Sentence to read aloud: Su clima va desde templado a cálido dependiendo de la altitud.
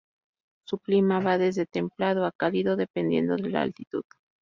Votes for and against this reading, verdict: 2, 2, rejected